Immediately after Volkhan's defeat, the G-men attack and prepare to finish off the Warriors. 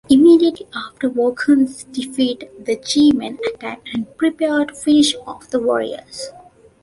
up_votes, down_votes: 1, 2